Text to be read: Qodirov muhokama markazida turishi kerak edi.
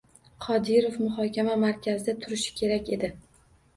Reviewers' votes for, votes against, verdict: 2, 0, accepted